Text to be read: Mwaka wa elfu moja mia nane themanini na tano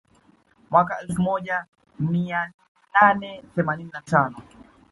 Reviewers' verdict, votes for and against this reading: accepted, 2, 1